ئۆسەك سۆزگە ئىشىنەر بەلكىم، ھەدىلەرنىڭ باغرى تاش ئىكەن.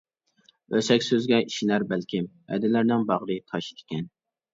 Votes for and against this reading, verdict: 2, 0, accepted